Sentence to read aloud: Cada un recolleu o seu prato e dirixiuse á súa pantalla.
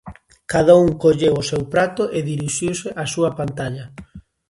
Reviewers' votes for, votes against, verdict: 0, 2, rejected